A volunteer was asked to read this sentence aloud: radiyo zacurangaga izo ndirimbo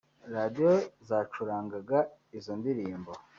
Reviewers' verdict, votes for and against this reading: rejected, 1, 2